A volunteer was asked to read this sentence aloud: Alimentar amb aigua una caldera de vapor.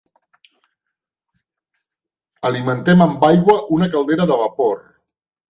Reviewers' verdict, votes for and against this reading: rejected, 0, 2